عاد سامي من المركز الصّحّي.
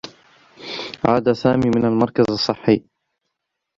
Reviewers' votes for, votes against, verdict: 1, 2, rejected